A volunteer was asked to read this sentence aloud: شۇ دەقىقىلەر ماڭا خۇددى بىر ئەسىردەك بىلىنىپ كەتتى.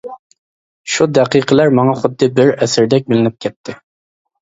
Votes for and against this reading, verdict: 2, 0, accepted